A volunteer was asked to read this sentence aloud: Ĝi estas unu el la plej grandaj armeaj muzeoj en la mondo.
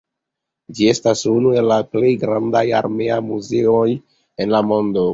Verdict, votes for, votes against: accepted, 2, 0